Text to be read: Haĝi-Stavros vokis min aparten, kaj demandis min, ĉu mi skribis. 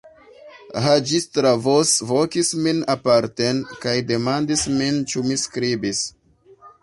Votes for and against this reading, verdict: 1, 2, rejected